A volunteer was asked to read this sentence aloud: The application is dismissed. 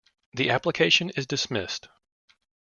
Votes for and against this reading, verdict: 2, 0, accepted